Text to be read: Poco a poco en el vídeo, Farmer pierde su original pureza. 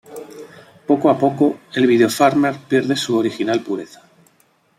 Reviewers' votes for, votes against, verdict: 1, 2, rejected